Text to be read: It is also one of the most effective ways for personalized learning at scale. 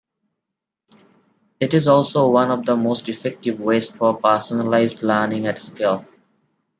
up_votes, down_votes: 2, 1